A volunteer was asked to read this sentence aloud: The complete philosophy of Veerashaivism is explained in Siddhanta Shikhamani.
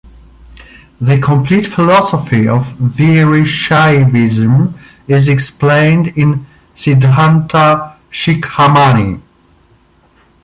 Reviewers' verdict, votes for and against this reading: accepted, 2, 0